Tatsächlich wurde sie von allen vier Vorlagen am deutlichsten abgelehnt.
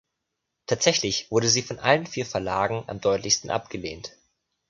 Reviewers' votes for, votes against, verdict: 1, 2, rejected